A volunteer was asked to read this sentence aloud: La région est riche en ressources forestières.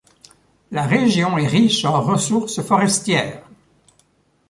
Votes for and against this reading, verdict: 2, 0, accepted